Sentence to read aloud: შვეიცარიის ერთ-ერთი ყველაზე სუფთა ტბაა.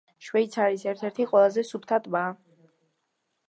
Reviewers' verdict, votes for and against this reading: accepted, 2, 0